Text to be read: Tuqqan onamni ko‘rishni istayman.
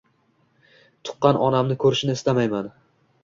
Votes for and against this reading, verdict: 2, 1, accepted